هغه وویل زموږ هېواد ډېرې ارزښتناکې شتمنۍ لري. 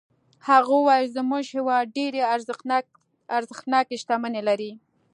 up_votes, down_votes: 0, 2